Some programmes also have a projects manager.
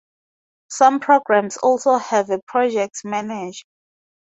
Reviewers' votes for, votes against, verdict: 0, 4, rejected